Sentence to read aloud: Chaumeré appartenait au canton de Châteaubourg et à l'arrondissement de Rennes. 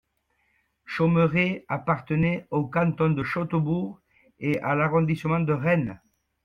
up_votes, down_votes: 2, 0